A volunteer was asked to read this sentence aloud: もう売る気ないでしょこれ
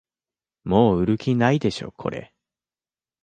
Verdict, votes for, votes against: accepted, 2, 0